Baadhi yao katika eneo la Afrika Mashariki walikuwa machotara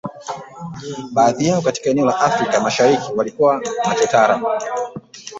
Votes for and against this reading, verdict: 1, 2, rejected